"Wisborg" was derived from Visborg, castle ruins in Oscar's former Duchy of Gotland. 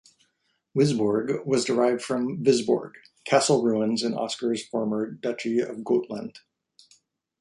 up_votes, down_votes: 2, 0